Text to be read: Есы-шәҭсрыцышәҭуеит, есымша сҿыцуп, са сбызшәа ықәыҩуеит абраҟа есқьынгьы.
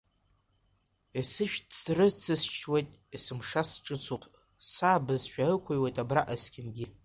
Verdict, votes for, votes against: rejected, 1, 2